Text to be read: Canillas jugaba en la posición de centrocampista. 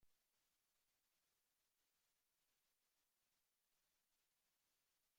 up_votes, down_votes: 0, 2